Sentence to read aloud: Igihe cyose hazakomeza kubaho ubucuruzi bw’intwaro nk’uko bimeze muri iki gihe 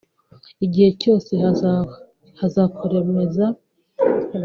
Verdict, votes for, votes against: rejected, 1, 2